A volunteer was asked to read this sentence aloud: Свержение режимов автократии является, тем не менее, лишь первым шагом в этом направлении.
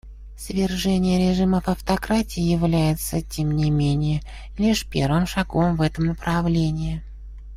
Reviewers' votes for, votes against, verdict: 1, 2, rejected